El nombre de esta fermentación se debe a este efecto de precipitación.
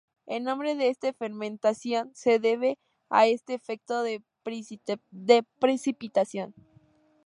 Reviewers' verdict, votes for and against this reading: rejected, 0, 2